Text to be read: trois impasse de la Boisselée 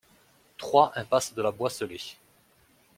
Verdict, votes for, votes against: accepted, 2, 0